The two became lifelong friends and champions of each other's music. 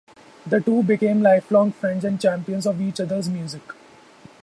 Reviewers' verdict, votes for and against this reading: rejected, 2, 2